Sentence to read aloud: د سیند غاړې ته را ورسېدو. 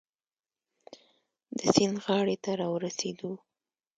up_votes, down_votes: 2, 0